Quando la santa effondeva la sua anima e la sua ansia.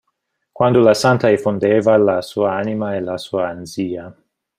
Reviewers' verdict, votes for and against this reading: rejected, 1, 2